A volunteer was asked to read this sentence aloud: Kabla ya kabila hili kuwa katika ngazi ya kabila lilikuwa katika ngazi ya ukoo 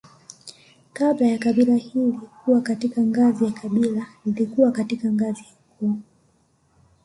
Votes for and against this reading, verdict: 2, 0, accepted